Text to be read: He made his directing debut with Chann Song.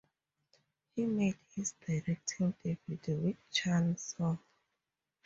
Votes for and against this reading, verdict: 4, 0, accepted